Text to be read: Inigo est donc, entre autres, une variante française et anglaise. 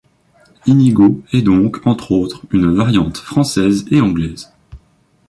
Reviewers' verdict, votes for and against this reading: accepted, 2, 1